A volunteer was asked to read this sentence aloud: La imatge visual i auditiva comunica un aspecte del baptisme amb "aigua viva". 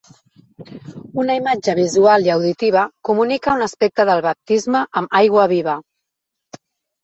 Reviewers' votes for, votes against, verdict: 1, 2, rejected